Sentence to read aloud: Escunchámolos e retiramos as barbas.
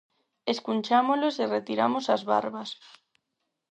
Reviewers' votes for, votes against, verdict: 4, 0, accepted